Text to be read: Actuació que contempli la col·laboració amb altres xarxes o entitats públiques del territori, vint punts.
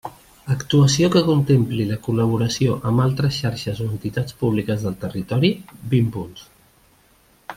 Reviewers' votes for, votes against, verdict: 1, 2, rejected